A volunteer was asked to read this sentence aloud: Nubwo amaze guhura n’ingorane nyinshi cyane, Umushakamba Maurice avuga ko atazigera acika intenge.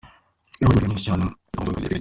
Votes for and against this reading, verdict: 0, 2, rejected